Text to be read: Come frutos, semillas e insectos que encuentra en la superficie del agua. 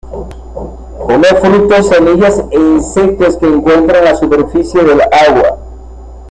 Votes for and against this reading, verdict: 2, 0, accepted